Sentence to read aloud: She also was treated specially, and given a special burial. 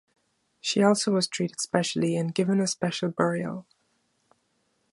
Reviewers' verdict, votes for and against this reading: accepted, 2, 0